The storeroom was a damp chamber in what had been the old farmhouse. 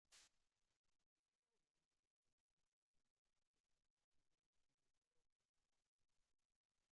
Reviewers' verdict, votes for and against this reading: rejected, 0, 2